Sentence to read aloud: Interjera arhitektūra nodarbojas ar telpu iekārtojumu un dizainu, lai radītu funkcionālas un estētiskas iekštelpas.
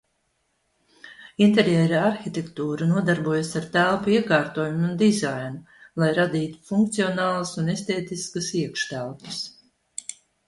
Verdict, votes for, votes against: accepted, 3, 0